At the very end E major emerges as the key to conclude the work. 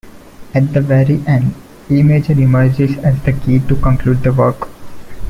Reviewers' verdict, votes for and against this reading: accepted, 2, 0